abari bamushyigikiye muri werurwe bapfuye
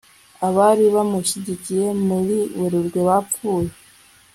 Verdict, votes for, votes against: rejected, 1, 2